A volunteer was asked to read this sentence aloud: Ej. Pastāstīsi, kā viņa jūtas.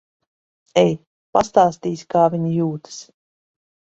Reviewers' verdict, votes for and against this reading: accepted, 2, 0